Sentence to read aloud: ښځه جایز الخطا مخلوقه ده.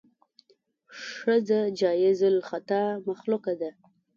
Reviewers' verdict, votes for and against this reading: accepted, 2, 0